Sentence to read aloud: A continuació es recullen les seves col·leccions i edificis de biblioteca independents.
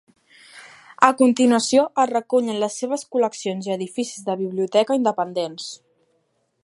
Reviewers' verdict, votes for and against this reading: accepted, 2, 0